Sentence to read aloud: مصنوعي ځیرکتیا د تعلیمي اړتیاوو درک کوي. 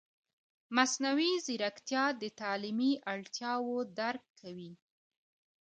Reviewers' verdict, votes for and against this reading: accepted, 2, 0